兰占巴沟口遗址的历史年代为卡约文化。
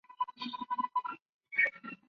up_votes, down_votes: 1, 2